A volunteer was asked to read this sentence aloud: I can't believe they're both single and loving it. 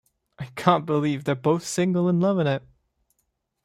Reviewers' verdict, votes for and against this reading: accepted, 2, 0